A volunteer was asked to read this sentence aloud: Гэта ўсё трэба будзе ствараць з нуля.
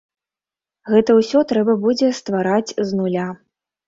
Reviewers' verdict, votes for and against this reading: accepted, 2, 0